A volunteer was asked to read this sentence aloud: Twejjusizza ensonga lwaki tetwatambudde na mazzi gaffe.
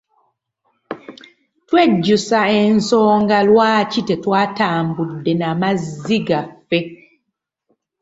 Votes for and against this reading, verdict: 1, 2, rejected